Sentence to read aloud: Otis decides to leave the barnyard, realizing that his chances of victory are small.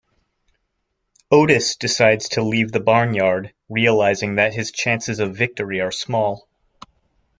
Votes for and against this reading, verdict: 2, 0, accepted